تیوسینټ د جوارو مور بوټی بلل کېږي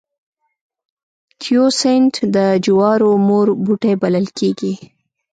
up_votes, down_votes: 1, 2